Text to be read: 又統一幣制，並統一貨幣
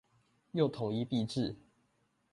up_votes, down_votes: 1, 2